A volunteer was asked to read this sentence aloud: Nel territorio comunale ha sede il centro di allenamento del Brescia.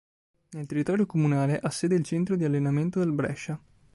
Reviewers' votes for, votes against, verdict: 3, 0, accepted